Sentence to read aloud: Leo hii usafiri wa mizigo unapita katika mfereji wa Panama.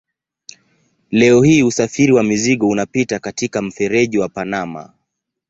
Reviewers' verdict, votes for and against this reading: accepted, 2, 1